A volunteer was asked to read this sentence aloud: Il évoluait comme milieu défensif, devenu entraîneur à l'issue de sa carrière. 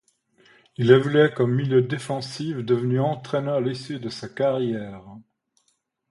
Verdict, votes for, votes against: accepted, 2, 0